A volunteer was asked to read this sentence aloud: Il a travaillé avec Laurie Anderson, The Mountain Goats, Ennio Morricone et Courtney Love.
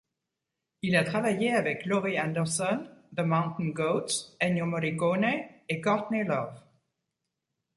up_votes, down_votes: 2, 0